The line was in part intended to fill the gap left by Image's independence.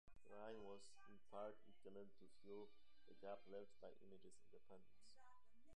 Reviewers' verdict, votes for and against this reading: rejected, 0, 2